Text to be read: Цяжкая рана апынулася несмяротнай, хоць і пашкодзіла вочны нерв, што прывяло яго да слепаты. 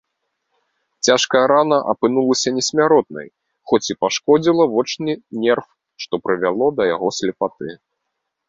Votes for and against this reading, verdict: 1, 4, rejected